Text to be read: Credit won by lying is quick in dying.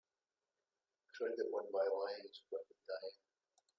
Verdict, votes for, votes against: rejected, 0, 2